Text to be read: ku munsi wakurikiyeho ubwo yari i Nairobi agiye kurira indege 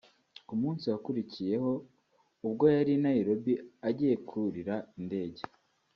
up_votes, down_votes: 1, 2